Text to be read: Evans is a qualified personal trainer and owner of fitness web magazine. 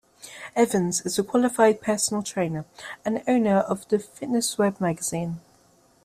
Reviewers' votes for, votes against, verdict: 0, 2, rejected